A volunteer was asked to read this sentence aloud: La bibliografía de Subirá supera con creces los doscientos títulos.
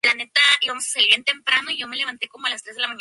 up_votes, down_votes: 0, 2